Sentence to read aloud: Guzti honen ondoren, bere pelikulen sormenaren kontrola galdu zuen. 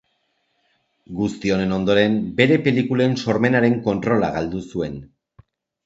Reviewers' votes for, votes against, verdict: 2, 0, accepted